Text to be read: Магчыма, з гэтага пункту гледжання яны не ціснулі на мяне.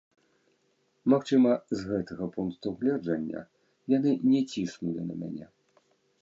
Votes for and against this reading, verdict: 0, 2, rejected